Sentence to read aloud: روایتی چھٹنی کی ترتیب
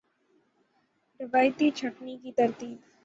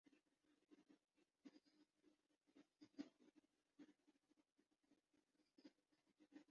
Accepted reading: first